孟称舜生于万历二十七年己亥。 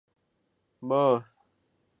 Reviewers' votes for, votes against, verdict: 1, 2, rejected